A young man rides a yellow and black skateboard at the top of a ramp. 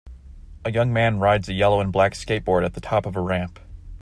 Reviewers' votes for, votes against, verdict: 2, 0, accepted